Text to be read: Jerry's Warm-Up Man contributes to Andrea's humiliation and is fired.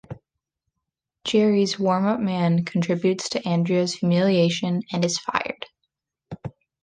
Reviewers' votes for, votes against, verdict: 2, 0, accepted